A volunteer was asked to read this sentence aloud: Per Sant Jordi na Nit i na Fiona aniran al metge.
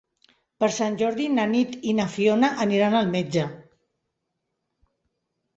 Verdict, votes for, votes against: accepted, 3, 0